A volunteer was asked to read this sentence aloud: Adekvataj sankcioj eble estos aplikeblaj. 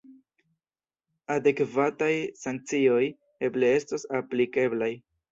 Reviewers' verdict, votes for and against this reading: rejected, 0, 2